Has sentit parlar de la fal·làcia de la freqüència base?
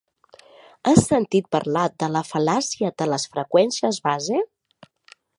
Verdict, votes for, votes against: rejected, 0, 2